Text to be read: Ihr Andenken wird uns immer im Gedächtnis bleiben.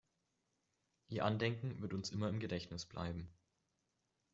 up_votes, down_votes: 2, 0